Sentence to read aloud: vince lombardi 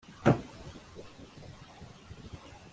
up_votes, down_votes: 1, 2